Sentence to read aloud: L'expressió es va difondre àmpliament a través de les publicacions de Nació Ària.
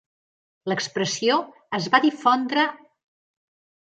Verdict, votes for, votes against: rejected, 0, 2